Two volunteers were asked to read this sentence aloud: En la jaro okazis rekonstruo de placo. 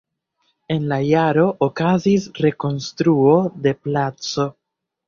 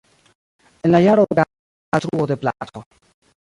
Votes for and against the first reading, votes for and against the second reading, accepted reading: 2, 0, 0, 2, first